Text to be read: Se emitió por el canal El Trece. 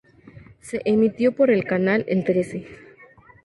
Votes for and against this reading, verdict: 2, 0, accepted